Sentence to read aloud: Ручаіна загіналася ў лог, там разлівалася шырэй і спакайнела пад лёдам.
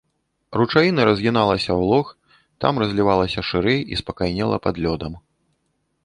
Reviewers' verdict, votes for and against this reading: rejected, 0, 2